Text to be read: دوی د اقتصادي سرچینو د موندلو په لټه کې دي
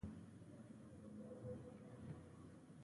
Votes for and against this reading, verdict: 1, 2, rejected